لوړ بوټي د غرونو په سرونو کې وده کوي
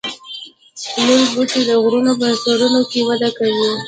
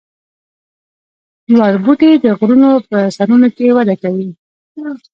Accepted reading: first